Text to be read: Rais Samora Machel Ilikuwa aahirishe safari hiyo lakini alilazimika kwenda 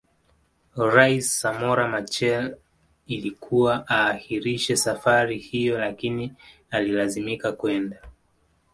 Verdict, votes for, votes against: accepted, 2, 0